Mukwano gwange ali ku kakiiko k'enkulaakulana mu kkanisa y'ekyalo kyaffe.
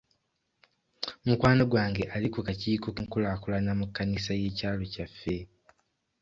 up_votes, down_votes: 2, 0